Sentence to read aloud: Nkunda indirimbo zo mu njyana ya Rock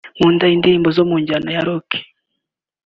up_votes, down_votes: 3, 1